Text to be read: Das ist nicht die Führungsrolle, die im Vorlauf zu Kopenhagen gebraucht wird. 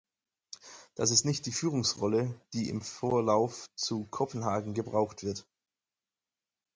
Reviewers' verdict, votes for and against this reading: accepted, 4, 0